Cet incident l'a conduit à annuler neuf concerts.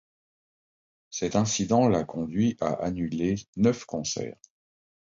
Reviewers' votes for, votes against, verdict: 2, 0, accepted